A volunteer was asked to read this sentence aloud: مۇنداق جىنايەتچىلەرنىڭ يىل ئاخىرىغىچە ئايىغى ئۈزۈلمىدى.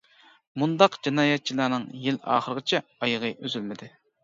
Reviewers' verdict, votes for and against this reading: accepted, 2, 0